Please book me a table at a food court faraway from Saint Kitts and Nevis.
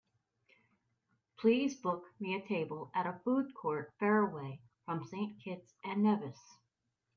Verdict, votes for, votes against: accepted, 2, 0